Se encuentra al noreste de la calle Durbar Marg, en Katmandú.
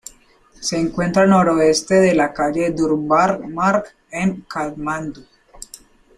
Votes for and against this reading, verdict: 1, 2, rejected